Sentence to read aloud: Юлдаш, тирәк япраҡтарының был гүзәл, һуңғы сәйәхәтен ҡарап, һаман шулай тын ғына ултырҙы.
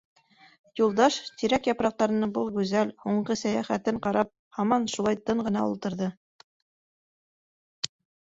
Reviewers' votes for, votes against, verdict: 3, 0, accepted